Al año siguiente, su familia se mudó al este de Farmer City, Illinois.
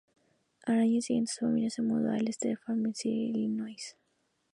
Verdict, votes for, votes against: rejected, 2, 2